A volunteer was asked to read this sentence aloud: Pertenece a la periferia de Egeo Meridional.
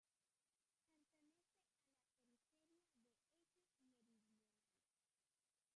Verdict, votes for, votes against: rejected, 0, 2